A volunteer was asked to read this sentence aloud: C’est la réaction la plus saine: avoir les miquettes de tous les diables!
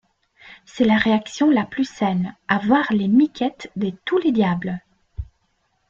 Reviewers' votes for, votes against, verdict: 1, 2, rejected